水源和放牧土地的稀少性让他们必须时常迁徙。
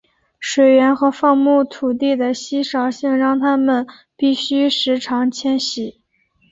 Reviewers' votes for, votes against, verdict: 7, 0, accepted